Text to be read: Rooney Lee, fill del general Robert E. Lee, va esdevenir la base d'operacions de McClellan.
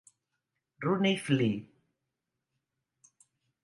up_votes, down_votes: 0, 2